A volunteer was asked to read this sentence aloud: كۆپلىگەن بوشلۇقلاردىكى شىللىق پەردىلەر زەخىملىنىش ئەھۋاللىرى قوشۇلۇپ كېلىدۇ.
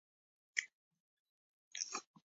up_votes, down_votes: 0, 2